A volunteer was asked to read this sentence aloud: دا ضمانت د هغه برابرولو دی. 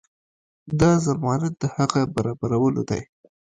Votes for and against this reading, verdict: 2, 0, accepted